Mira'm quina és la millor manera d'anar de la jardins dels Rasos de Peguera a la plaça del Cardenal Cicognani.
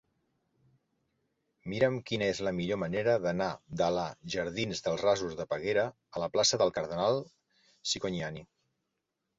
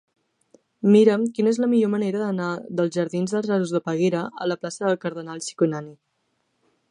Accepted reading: first